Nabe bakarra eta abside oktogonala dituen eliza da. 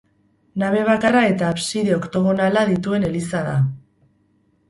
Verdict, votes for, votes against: accepted, 4, 0